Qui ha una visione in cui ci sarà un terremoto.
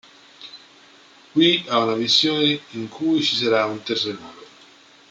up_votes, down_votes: 1, 2